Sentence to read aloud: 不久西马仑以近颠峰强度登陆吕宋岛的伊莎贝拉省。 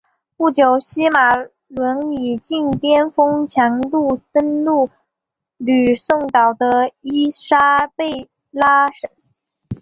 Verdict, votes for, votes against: accepted, 2, 0